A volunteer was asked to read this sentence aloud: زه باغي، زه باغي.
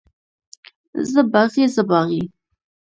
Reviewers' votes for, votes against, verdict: 1, 2, rejected